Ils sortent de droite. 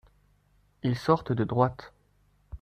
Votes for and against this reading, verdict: 2, 0, accepted